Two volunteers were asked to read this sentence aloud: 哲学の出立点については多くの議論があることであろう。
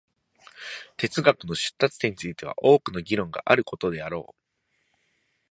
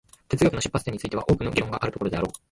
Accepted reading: first